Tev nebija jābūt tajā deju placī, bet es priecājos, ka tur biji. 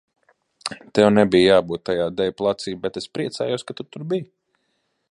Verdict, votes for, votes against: rejected, 0, 2